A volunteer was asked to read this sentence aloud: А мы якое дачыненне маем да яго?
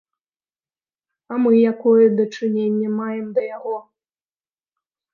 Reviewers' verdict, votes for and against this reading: accepted, 2, 0